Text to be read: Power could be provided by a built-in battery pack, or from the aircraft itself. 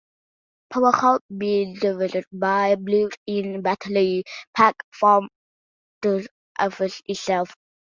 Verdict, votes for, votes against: rejected, 0, 2